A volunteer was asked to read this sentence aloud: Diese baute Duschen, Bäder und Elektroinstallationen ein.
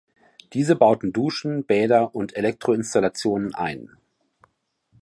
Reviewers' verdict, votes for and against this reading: rejected, 0, 2